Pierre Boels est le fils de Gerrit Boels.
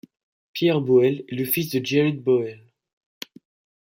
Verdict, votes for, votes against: rejected, 1, 2